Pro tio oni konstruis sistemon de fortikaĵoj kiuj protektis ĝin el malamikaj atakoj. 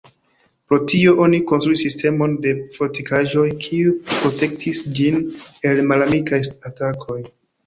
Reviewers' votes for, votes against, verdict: 3, 2, accepted